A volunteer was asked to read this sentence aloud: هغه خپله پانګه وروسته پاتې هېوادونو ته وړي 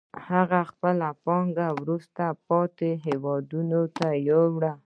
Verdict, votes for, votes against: rejected, 0, 2